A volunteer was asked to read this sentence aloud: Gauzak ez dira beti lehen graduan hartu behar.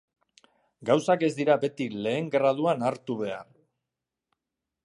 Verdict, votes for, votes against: accepted, 2, 0